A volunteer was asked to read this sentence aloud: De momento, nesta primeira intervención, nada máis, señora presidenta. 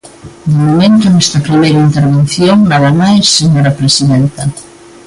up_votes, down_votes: 1, 2